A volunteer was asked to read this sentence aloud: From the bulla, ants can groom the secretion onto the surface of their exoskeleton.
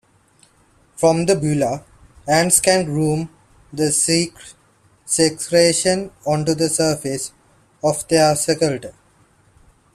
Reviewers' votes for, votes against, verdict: 1, 2, rejected